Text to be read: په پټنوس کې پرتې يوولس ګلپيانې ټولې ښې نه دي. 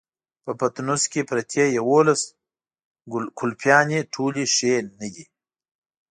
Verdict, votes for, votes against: accepted, 2, 0